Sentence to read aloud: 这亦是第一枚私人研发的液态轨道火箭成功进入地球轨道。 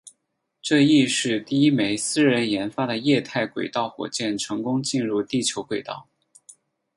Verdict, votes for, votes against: accepted, 8, 0